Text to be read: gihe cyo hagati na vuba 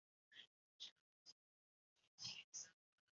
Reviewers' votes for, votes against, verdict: 1, 2, rejected